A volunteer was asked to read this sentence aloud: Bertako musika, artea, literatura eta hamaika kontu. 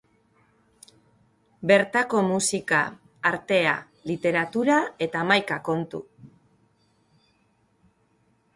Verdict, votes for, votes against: accepted, 3, 0